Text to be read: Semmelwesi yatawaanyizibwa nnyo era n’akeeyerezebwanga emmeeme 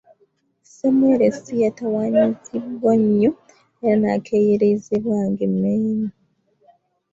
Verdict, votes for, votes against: rejected, 1, 2